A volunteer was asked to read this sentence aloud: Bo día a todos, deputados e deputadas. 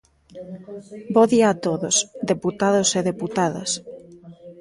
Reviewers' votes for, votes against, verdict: 1, 2, rejected